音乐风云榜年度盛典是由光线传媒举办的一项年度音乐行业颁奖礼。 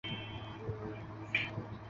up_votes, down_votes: 2, 6